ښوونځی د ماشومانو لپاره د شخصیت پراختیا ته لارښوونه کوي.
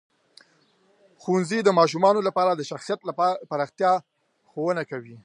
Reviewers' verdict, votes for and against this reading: rejected, 1, 2